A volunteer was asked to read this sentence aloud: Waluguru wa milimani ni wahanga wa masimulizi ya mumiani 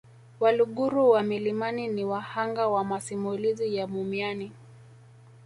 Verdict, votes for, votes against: rejected, 1, 2